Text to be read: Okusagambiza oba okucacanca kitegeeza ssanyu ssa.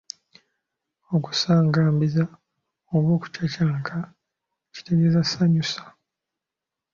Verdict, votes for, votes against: rejected, 0, 2